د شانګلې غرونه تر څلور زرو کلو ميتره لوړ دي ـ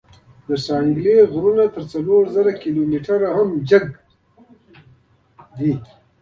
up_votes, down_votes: 2, 1